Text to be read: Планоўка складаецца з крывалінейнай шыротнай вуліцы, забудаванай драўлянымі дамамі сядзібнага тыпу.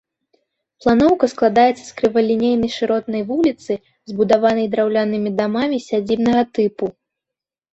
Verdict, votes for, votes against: rejected, 1, 4